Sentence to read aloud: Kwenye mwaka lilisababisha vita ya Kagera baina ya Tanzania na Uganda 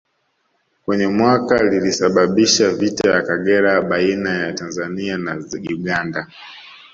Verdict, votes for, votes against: rejected, 2, 3